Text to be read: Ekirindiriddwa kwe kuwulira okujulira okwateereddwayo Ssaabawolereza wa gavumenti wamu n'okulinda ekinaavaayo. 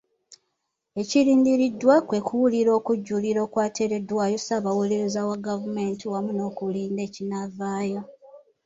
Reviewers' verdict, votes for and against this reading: rejected, 0, 2